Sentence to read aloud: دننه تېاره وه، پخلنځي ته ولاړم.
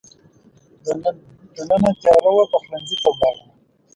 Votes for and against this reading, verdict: 0, 2, rejected